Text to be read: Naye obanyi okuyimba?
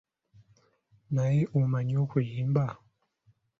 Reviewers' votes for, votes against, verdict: 0, 2, rejected